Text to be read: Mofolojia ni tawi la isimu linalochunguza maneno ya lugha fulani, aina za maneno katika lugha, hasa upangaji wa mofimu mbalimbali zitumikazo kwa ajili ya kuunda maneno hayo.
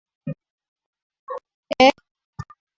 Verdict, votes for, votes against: rejected, 0, 2